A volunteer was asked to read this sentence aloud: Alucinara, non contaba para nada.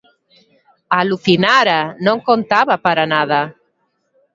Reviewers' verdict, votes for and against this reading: accepted, 2, 0